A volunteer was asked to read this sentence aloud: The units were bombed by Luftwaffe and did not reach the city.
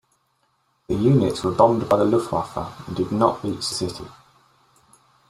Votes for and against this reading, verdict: 1, 2, rejected